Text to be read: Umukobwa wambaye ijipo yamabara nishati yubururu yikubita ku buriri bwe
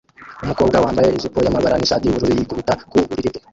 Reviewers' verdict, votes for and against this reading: rejected, 0, 2